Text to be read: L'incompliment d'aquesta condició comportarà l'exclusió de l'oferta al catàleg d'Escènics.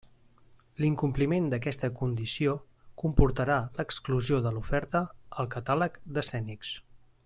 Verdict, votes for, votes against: accepted, 2, 0